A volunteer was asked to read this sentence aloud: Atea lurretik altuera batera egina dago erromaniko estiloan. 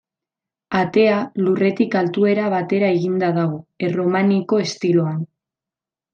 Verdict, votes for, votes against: rejected, 1, 2